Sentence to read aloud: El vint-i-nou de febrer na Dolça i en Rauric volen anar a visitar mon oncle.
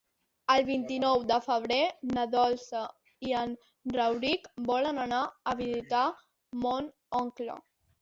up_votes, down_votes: 3, 1